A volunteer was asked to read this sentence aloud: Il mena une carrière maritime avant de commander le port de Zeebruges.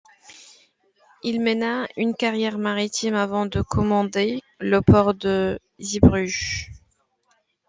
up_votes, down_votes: 2, 0